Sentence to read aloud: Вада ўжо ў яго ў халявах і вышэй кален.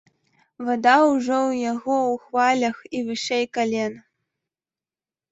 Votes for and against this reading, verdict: 0, 2, rejected